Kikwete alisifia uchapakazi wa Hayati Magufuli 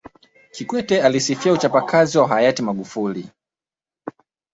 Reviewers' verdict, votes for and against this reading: accepted, 2, 0